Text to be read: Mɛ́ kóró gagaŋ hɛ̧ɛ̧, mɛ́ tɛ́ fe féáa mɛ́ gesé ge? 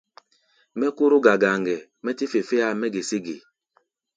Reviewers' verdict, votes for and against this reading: accepted, 2, 0